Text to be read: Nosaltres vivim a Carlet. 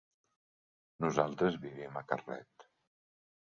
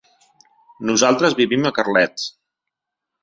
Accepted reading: first